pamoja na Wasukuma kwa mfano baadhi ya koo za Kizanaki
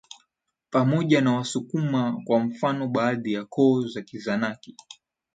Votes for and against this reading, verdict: 13, 1, accepted